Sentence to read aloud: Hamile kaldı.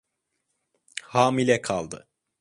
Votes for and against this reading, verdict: 2, 0, accepted